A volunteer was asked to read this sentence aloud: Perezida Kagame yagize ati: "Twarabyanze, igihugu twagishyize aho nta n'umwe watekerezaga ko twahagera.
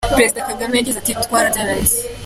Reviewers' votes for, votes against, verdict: 0, 2, rejected